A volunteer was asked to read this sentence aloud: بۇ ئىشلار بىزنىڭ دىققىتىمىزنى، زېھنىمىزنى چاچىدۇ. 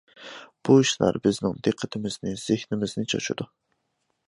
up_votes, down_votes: 2, 0